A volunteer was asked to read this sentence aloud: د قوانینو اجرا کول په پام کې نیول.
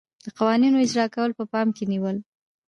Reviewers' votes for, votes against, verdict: 1, 2, rejected